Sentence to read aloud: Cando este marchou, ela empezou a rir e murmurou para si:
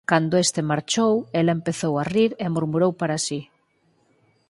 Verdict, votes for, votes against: accepted, 4, 0